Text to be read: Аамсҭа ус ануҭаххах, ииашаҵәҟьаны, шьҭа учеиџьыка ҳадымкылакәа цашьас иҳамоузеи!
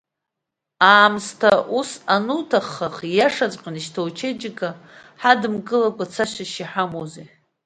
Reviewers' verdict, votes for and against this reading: accepted, 2, 0